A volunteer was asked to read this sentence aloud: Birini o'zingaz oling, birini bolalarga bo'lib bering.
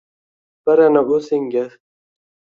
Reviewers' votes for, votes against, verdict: 0, 2, rejected